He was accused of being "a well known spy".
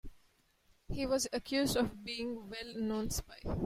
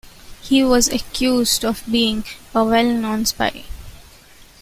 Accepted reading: second